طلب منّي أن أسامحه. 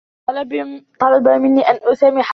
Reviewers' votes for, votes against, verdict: 1, 2, rejected